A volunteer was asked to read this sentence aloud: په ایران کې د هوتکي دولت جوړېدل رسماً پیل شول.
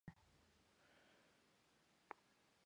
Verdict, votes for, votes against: rejected, 0, 2